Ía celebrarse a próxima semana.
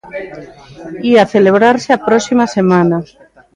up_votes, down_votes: 2, 0